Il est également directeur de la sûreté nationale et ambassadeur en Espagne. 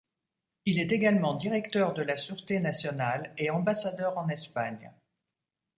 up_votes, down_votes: 2, 0